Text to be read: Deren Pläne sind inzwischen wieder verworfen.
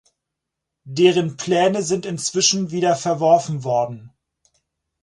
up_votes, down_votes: 0, 4